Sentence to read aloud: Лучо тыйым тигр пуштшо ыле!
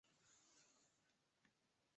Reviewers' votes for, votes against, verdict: 1, 2, rejected